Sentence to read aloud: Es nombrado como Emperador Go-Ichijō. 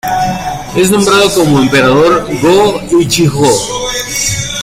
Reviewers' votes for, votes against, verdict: 2, 1, accepted